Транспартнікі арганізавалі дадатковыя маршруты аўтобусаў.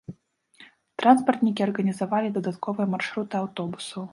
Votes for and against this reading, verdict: 2, 0, accepted